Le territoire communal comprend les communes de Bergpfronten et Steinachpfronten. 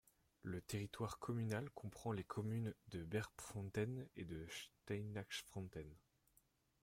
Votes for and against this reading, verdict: 2, 0, accepted